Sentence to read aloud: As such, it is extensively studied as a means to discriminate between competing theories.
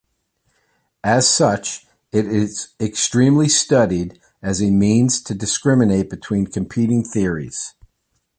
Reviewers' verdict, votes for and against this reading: rejected, 1, 2